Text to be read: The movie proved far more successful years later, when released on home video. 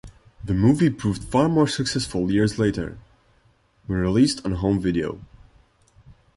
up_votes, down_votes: 2, 0